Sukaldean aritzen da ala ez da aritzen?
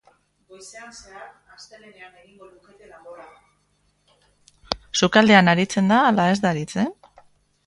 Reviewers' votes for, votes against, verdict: 0, 2, rejected